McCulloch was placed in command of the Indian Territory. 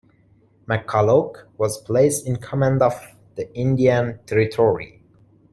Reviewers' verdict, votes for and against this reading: accepted, 2, 0